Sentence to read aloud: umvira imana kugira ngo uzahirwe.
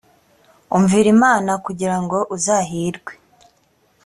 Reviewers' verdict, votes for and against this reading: accepted, 2, 0